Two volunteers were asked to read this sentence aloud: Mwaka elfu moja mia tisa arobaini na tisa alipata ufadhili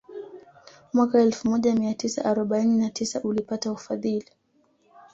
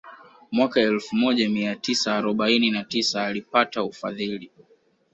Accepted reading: second